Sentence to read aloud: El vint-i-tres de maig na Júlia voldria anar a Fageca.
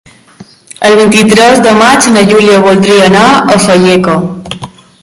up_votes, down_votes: 1, 2